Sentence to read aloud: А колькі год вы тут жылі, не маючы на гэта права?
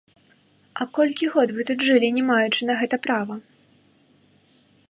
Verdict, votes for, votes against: rejected, 1, 2